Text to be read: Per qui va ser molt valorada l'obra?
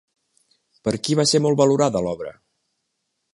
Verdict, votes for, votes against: accepted, 3, 0